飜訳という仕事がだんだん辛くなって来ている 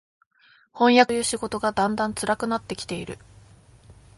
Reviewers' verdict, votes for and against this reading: accepted, 2, 1